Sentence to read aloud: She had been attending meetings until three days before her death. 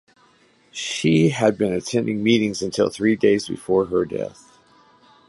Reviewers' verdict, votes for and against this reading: accepted, 2, 1